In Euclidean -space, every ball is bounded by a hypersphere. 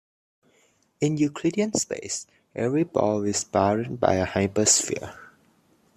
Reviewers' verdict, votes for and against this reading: accepted, 2, 0